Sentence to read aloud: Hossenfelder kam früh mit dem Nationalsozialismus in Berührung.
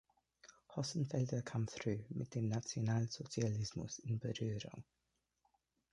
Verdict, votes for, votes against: accepted, 2, 0